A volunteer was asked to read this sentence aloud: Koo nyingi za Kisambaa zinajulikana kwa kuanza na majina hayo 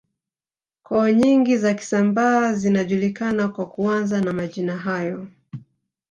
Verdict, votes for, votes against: rejected, 1, 2